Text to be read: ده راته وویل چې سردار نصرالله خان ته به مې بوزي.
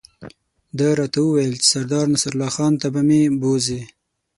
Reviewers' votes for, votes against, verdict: 6, 0, accepted